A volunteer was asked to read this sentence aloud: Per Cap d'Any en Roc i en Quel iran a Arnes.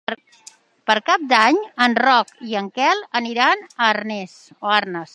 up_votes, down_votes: 0, 2